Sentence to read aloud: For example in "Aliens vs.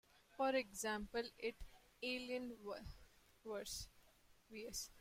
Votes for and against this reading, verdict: 0, 2, rejected